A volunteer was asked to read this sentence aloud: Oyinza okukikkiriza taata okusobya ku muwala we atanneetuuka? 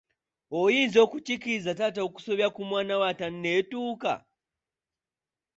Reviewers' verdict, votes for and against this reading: rejected, 1, 2